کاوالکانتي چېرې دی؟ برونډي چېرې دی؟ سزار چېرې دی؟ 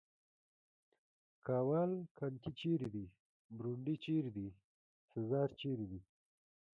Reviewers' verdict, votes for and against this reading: rejected, 1, 2